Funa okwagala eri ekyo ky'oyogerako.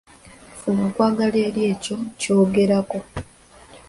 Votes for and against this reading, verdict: 1, 2, rejected